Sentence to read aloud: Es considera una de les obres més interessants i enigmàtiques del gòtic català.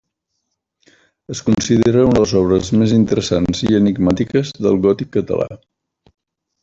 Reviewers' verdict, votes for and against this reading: accepted, 3, 0